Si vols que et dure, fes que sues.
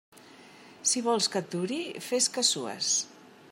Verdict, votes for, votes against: rejected, 0, 2